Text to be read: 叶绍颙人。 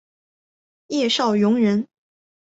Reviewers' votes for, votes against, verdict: 2, 0, accepted